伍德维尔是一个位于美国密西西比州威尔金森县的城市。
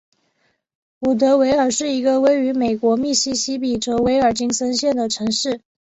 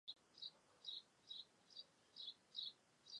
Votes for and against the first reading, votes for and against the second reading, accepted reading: 4, 0, 0, 3, first